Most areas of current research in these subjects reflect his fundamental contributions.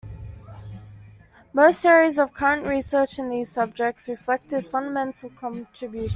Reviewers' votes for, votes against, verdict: 1, 2, rejected